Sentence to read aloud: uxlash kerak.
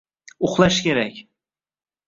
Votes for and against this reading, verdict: 1, 2, rejected